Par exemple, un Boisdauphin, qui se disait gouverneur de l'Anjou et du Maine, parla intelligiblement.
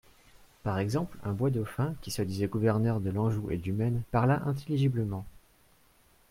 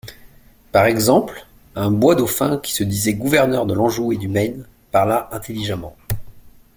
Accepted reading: first